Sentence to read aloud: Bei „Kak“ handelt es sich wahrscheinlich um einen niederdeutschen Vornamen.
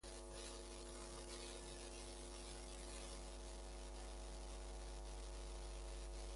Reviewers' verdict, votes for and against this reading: rejected, 0, 2